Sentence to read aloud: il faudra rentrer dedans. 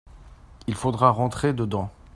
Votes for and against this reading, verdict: 2, 0, accepted